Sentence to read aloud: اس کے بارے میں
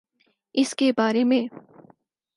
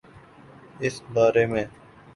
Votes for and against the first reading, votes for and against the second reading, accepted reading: 4, 0, 0, 3, first